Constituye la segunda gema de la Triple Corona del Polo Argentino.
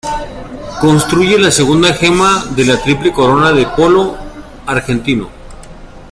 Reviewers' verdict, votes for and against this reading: rejected, 0, 2